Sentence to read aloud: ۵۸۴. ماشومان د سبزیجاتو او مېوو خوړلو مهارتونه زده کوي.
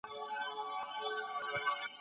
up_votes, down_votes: 0, 2